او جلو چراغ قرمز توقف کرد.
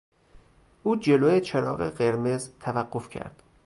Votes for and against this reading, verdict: 2, 2, rejected